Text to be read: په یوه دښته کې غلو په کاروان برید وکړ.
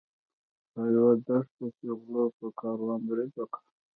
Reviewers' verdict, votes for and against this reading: accepted, 2, 0